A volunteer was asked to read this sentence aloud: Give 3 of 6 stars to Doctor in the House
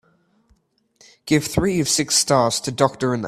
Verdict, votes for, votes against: rejected, 0, 2